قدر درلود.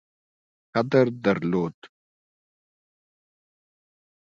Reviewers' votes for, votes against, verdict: 2, 0, accepted